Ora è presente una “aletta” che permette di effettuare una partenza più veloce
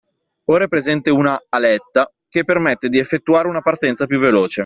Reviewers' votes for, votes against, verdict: 2, 0, accepted